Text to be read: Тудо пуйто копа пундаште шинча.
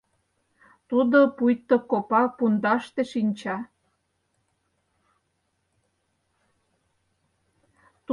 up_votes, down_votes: 4, 0